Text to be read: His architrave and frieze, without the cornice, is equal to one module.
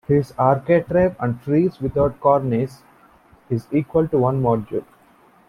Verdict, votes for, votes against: rejected, 1, 2